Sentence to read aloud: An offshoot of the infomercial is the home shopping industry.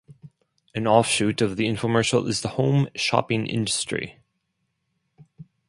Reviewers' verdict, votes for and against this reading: accepted, 4, 0